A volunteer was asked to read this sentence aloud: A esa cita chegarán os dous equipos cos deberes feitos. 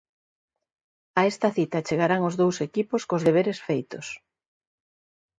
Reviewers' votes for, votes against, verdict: 0, 3, rejected